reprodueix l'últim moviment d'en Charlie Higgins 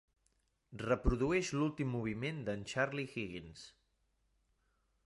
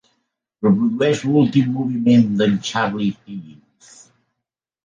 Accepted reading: first